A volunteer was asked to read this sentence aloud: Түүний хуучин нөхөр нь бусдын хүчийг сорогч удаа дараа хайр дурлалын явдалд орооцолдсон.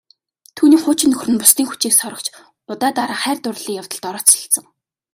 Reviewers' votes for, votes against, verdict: 2, 0, accepted